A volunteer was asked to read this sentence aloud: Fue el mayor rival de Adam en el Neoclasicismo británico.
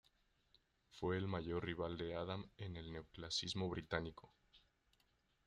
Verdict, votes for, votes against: rejected, 0, 2